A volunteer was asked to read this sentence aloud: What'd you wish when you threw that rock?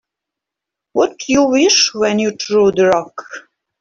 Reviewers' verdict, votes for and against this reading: rejected, 1, 2